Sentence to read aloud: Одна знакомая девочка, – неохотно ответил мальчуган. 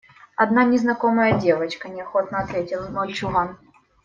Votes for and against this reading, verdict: 1, 2, rejected